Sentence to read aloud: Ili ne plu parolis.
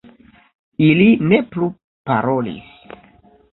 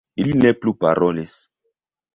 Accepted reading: first